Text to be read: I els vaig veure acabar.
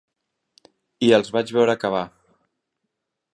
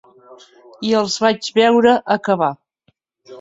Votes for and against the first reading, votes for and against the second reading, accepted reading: 3, 0, 1, 2, first